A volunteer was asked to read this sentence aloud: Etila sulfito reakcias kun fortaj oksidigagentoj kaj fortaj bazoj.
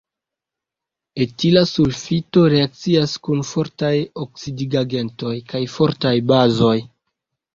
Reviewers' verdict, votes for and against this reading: accepted, 2, 0